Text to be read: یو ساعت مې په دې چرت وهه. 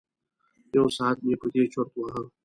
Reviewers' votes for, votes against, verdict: 2, 0, accepted